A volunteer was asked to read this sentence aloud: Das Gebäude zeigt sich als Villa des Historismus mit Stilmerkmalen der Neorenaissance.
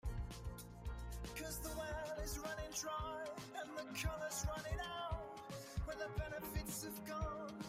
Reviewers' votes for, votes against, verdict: 0, 2, rejected